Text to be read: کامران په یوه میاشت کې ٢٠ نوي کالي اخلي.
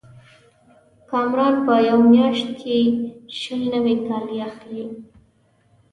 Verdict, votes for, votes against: rejected, 0, 2